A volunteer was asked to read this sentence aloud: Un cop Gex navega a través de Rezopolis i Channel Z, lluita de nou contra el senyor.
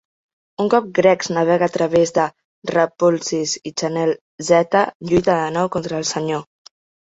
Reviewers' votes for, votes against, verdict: 0, 2, rejected